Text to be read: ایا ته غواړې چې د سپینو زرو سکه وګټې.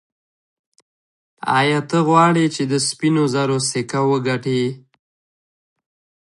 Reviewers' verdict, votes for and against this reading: accepted, 2, 1